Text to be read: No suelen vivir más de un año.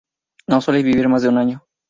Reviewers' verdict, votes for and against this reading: accepted, 2, 0